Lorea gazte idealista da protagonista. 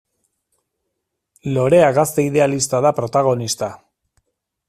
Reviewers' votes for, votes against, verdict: 2, 0, accepted